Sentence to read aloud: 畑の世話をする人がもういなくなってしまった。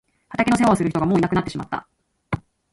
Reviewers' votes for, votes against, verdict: 2, 0, accepted